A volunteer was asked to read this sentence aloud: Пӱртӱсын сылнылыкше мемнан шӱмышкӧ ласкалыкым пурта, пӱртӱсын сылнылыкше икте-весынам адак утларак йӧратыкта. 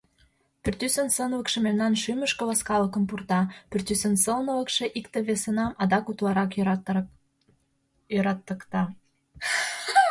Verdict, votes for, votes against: rejected, 1, 2